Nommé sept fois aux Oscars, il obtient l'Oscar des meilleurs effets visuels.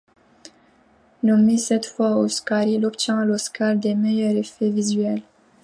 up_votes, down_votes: 2, 1